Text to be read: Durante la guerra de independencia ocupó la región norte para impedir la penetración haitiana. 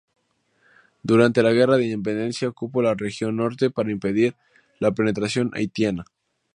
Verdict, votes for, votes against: accepted, 2, 0